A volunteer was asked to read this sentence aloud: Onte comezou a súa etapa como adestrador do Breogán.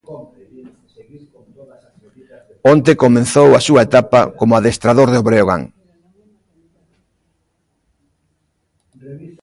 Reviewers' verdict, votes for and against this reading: rejected, 0, 2